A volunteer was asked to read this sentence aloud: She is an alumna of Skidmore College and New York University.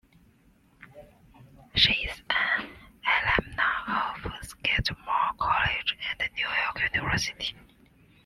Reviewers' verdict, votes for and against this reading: rejected, 1, 3